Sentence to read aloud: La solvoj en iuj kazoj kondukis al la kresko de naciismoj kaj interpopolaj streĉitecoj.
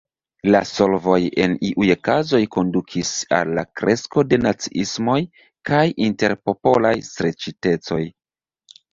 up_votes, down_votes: 0, 2